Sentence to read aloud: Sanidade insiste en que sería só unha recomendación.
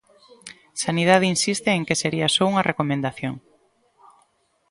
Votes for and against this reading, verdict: 2, 0, accepted